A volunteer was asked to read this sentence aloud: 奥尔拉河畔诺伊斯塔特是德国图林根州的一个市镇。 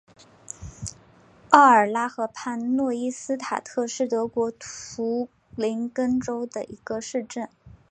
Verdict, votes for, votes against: accepted, 2, 0